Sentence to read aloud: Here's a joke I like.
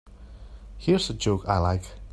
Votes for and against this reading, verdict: 2, 0, accepted